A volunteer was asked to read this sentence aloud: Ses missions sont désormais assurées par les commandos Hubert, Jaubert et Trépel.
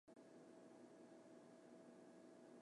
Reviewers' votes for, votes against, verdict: 0, 2, rejected